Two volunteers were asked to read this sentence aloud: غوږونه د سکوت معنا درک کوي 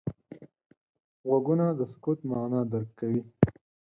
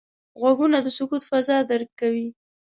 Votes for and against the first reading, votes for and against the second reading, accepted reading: 6, 0, 0, 2, first